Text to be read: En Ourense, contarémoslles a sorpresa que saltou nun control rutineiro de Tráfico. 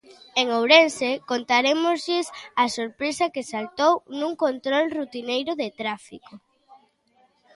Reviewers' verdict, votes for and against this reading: accepted, 2, 0